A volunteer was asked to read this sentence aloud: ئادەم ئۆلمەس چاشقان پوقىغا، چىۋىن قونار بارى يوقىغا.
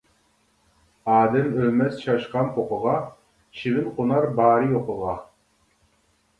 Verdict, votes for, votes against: rejected, 1, 2